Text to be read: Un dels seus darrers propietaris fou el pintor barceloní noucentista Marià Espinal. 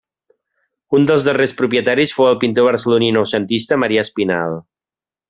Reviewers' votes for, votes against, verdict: 1, 2, rejected